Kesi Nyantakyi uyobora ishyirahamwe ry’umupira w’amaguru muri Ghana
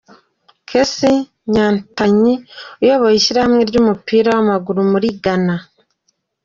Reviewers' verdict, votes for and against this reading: accepted, 2, 0